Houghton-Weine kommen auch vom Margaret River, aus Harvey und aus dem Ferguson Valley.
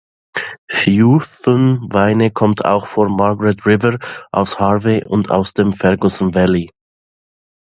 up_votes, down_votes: 0, 2